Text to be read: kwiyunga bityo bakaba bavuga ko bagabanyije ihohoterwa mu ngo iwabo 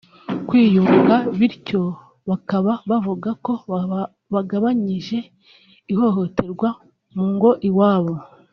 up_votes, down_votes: 0, 2